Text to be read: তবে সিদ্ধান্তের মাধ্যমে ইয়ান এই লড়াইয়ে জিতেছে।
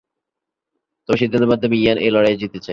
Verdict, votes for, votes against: rejected, 5, 7